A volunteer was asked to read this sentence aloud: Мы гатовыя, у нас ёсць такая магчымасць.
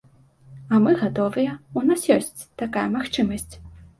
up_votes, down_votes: 2, 0